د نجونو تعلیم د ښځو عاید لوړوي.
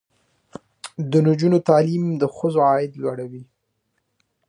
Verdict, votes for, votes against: rejected, 1, 2